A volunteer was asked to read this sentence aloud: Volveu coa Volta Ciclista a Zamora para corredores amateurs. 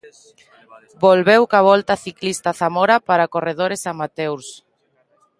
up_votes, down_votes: 0, 2